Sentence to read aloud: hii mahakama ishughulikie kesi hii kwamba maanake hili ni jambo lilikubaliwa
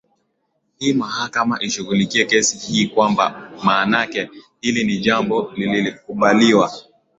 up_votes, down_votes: 3, 1